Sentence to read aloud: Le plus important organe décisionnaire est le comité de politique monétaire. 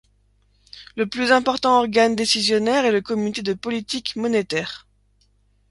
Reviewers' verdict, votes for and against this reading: accepted, 2, 0